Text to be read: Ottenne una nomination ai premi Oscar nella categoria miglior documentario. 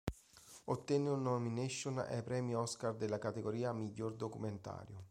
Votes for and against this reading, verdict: 1, 2, rejected